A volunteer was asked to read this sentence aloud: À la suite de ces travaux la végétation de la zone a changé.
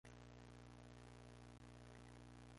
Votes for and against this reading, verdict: 0, 2, rejected